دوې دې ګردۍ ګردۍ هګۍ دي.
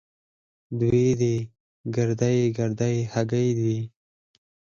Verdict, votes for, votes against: rejected, 2, 4